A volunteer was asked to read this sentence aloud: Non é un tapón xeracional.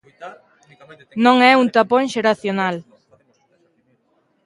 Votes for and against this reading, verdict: 0, 2, rejected